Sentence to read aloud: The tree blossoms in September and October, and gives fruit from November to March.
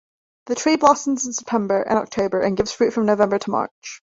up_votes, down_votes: 1, 2